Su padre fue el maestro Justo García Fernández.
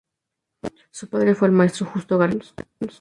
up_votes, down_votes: 0, 2